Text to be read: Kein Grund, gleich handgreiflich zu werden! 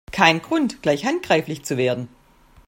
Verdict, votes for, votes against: accepted, 2, 0